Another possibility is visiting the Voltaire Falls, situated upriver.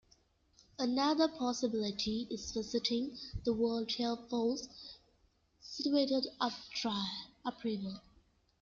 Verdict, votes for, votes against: rejected, 1, 2